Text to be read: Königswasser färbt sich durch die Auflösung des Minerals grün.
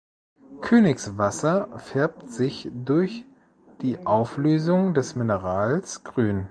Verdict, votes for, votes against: accepted, 2, 0